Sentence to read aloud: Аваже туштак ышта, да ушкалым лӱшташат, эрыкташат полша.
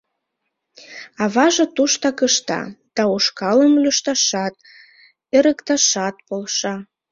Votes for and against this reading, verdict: 2, 0, accepted